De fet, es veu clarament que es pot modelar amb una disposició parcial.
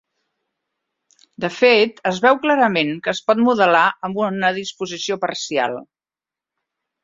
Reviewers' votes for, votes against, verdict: 3, 0, accepted